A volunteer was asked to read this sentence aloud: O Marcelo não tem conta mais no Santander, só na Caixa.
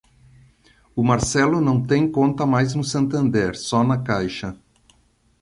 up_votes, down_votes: 2, 0